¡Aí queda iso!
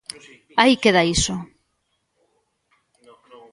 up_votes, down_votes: 0, 2